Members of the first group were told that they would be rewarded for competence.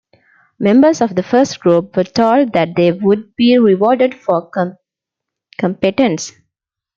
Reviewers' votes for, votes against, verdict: 0, 2, rejected